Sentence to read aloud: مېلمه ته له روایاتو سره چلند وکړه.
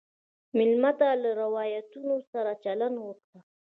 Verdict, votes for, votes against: rejected, 0, 2